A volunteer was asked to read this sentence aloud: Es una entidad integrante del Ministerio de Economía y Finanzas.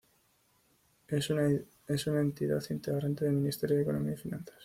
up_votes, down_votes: 1, 2